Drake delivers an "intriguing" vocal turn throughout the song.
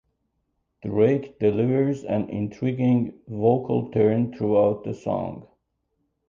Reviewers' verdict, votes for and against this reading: accepted, 2, 0